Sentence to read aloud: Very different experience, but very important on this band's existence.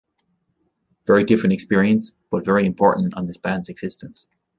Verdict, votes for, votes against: accepted, 2, 0